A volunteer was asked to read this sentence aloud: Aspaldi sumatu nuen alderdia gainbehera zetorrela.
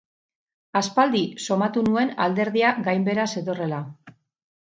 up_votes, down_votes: 2, 0